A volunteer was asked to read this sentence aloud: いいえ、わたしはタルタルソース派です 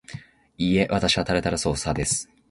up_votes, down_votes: 2, 0